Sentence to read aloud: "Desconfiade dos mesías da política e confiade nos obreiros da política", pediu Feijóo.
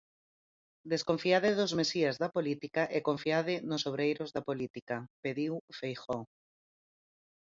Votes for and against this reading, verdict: 0, 4, rejected